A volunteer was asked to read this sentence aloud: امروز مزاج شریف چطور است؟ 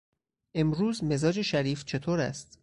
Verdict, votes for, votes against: accepted, 4, 0